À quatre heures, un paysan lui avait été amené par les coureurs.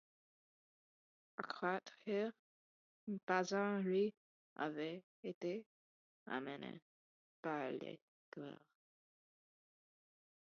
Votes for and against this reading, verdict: 1, 2, rejected